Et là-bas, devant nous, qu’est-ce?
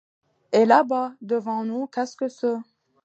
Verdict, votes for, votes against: rejected, 0, 2